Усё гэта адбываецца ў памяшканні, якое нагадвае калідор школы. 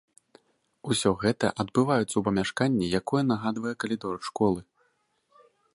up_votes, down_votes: 2, 0